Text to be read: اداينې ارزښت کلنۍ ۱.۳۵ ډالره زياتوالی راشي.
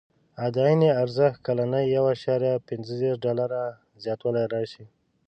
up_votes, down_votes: 0, 2